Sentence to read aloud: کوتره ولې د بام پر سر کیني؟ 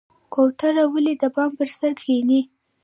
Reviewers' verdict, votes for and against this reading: rejected, 0, 2